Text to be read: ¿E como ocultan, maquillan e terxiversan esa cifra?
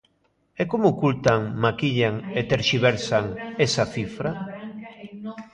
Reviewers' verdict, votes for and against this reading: accepted, 2, 0